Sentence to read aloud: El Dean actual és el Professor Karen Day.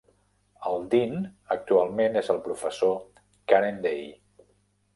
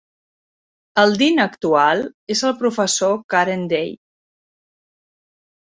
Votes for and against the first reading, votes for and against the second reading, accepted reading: 0, 2, 4, 0, second